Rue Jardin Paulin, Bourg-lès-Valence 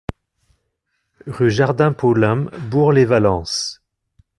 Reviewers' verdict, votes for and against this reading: accepted, 2, 0